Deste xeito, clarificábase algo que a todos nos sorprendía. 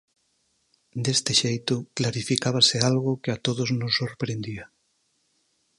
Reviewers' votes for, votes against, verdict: 4, 0, accepted